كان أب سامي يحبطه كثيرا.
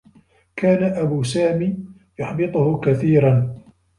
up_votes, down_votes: 1, 2